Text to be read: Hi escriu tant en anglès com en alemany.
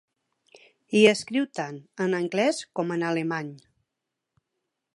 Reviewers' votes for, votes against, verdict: 2, 0, accepted